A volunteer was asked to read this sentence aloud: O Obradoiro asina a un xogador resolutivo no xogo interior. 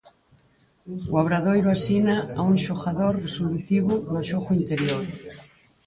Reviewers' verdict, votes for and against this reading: rejected, 2, 4